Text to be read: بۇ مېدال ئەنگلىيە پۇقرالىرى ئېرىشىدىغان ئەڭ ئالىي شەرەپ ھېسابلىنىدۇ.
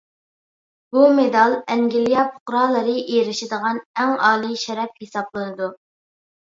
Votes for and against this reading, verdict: 2, 0, accepted